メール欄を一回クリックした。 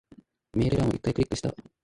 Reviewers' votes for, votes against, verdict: 2, 4, rejected